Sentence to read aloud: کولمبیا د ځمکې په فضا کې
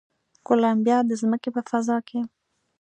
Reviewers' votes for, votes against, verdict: 2, 0, accepted